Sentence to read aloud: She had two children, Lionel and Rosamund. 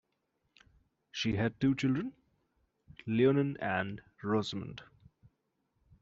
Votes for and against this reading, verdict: 2, 1, accepted